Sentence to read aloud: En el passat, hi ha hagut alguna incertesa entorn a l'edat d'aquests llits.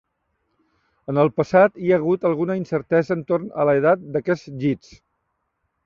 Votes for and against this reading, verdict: 0, 2, rejected